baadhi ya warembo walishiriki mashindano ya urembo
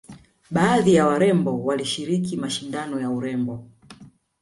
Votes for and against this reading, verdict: 2, 0, accepted